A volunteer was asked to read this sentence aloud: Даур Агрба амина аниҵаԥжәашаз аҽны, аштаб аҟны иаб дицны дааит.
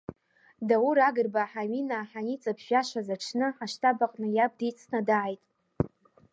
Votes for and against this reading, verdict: 0, 2, rejected